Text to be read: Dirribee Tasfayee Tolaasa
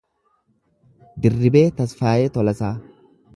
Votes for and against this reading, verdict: 1, 2, rejected